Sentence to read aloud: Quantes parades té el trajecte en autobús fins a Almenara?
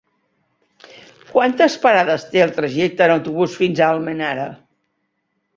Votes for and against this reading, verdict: 3, 0, accepted